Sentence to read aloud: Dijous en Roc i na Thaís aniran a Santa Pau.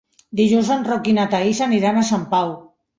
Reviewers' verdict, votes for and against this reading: rejected, 0, 2